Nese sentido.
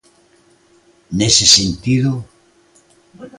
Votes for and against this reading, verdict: 2, 0, accepted